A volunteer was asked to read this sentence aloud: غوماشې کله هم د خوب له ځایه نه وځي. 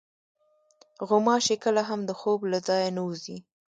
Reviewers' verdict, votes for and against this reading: rejected, 1, 2